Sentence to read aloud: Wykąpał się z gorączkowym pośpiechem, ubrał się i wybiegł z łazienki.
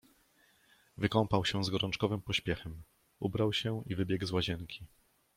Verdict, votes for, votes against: accepted, 2, 0